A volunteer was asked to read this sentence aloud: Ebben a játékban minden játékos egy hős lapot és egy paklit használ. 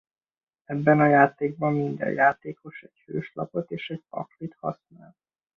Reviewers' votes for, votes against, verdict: 2, 1, accepted